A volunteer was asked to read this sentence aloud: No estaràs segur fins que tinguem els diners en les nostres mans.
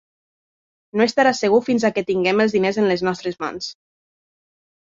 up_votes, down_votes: 0, 2